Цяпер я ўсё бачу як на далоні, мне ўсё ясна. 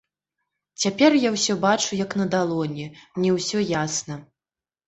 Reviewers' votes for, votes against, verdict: 2, 0, accepted